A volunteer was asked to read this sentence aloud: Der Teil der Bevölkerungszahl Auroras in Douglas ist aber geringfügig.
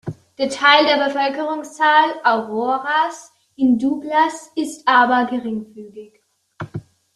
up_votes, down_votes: 1, 2